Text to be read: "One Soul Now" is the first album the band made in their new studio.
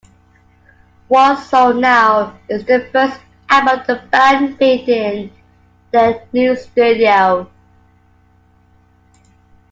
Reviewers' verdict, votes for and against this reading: accepted, 2, 1